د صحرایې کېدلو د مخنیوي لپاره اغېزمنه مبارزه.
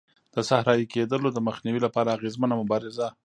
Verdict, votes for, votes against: rejected, 0, 2